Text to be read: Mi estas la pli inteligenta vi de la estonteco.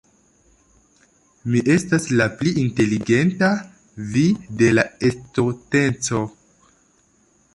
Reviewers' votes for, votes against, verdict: 0, 2, rejected